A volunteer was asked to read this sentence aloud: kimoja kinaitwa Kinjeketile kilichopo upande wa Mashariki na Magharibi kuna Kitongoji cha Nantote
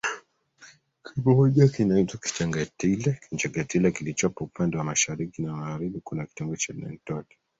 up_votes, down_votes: 0, 2